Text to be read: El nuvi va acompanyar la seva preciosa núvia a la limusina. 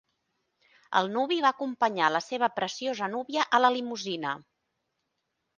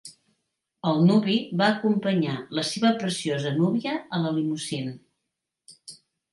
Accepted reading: first